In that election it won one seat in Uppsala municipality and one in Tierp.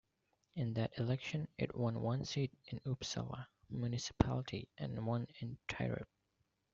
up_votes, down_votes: 1, 2